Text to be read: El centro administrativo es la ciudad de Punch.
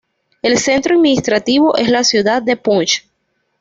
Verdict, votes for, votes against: accepted, 2, 0